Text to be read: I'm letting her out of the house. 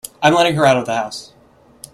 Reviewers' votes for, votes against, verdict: 2, 0, accepted